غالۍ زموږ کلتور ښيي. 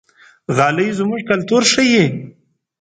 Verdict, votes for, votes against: accepted, 2, 0